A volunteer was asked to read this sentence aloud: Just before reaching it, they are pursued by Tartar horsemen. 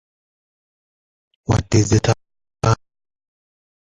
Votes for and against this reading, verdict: 0, 2, rejected